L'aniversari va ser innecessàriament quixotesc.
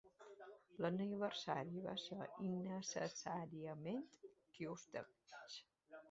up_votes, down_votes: 1, 2